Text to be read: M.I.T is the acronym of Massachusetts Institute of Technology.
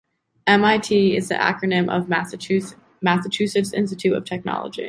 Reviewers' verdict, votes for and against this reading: rejected, 0, 2